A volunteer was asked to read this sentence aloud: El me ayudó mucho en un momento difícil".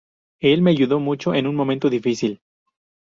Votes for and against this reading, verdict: 2, 0, accepted